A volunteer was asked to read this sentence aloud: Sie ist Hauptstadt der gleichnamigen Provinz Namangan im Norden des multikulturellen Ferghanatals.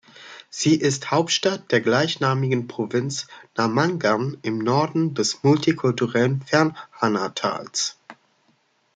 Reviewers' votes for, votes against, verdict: 0, 2, rejected